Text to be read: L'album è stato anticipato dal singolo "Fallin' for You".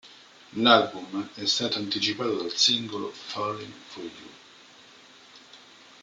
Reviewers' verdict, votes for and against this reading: rejected, 0, 2